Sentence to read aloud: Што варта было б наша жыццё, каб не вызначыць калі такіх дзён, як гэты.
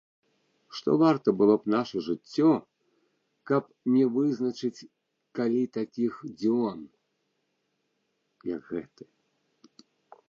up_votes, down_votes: 0, 2